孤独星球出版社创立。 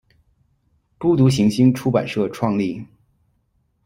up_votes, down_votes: 1, 2